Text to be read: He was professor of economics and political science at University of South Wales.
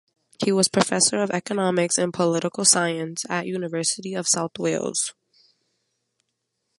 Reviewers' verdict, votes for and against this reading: accepted, 2, 0